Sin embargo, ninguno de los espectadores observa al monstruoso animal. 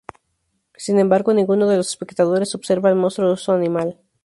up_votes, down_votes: 2, 2